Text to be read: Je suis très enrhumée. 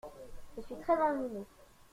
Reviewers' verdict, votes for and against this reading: rejected, 0, 2